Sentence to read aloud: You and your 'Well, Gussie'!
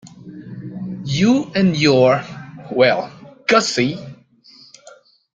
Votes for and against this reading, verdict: 2, 0, accepted